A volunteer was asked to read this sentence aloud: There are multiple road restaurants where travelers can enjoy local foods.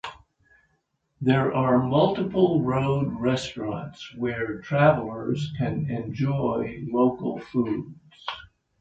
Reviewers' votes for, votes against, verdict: 3, 0, accepted